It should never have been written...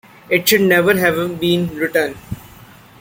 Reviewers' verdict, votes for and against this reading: rejected, 1, 2